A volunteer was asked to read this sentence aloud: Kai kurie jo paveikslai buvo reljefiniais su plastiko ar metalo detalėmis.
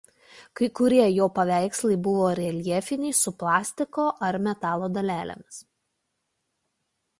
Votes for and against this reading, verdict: 1, 2, rejected